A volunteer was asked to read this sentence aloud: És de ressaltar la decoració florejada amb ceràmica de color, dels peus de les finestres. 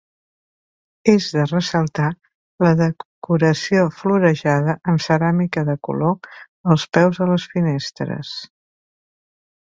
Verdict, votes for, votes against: rejected, 2, 4